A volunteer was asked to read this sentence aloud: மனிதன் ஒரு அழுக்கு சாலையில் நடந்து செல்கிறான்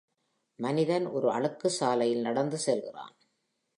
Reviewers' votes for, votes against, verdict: 2, 0, accepted